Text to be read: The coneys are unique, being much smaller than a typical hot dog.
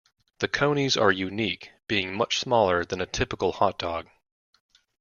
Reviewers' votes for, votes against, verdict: 2, 0, accepted